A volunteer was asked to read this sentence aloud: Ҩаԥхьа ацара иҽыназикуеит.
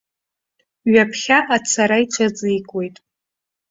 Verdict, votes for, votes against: rejected, 0, 2